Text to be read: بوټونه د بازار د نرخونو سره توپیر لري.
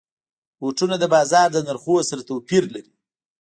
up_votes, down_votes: 2, 1